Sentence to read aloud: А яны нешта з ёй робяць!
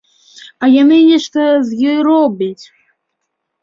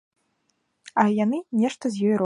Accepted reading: first